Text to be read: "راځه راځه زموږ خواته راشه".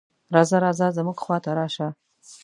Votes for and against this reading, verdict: 2, 0, accepted